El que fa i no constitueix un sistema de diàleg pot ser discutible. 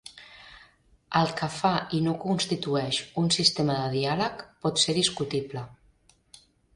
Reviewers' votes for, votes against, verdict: 3, 0, accepted